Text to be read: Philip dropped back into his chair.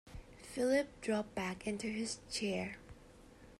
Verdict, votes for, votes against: accepted, 2, 0